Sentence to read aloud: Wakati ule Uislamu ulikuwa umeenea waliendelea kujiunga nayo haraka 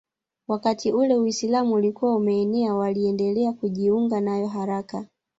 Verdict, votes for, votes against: rejected, 1, 2